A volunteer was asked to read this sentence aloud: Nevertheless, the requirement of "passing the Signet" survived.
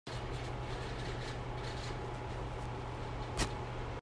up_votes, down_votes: 0, 2